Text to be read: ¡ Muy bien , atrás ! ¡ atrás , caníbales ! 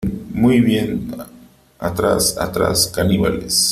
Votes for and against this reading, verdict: 3, 0, accepted